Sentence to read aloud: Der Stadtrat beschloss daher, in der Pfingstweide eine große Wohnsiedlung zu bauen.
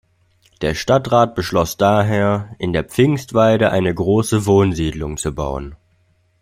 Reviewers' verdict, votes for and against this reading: accepted, 2, 0